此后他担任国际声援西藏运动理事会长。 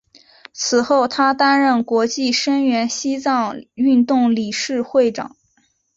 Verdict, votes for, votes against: accepted, 3, 0